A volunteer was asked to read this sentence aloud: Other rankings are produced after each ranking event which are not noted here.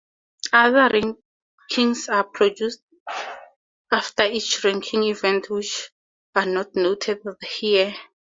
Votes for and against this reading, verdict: 2, 0, accepted